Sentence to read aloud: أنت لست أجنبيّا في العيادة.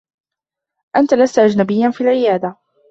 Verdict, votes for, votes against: accepted, 2, 0